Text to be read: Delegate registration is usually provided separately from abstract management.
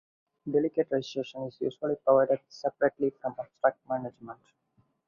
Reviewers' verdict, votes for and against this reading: accepted, 4, 2